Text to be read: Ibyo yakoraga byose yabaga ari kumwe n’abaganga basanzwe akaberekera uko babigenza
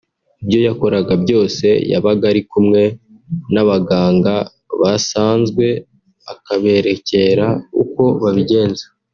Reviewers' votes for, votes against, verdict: 0, 2, rejected